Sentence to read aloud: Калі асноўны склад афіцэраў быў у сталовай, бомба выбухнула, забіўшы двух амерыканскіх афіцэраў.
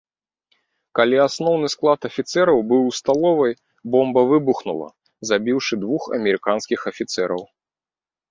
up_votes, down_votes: 2, 0